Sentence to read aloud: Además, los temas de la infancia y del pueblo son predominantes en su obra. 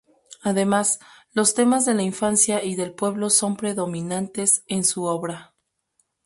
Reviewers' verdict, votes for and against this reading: accepted, 2, 0